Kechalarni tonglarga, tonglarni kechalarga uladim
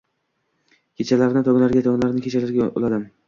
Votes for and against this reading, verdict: 2, 0, accepted